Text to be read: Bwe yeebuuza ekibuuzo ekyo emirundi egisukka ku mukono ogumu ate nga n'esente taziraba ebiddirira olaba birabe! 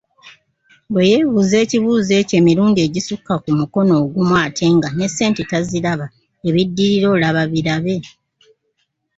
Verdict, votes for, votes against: rejected, 1, 2